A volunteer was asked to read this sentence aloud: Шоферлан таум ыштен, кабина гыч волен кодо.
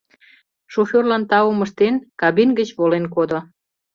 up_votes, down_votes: 1, 2